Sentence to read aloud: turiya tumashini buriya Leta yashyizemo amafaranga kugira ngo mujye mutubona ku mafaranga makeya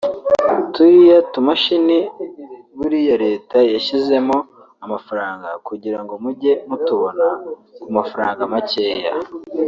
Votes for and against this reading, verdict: 2, 0, accepted